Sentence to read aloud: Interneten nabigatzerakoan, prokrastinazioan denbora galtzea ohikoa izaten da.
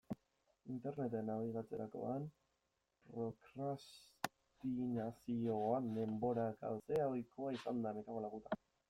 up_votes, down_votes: 0, 2